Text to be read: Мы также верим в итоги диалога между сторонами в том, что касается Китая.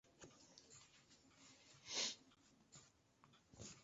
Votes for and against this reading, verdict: 0, 2, rejected